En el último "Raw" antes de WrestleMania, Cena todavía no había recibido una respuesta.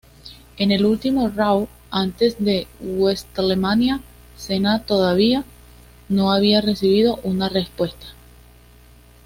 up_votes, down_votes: 2, 0